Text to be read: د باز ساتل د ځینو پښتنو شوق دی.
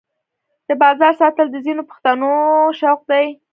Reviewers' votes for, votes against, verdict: 1, 3, rejected